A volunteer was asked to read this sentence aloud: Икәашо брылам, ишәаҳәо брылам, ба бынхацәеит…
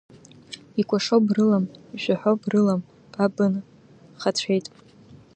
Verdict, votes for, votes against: accepted, 2, 1